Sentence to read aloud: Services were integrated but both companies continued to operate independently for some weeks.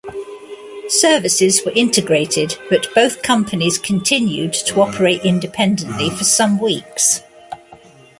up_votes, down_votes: 2, 1